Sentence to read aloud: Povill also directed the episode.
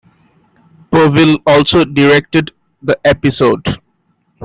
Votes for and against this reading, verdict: 2, 0, accepted